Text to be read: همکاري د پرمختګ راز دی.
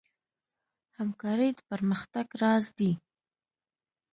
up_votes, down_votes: 2, 0